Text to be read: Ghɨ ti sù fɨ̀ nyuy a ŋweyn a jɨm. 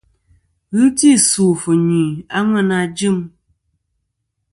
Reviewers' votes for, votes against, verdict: 2, 0, accepted